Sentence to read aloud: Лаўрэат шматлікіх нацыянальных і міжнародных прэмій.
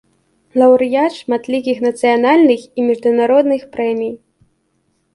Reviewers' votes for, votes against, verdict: 1, 2, rejected